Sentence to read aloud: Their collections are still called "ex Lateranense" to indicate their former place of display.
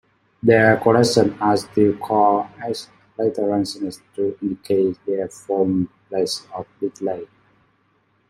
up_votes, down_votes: 0, 2